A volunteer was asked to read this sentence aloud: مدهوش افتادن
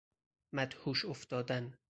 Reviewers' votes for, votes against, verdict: 4, 0, accepted